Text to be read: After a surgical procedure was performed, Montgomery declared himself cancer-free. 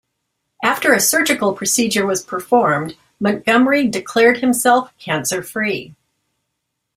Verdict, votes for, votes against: accepted, 2, 0